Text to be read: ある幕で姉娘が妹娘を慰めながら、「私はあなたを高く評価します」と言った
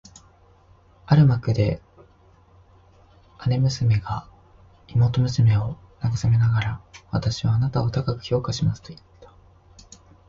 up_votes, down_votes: 1, 2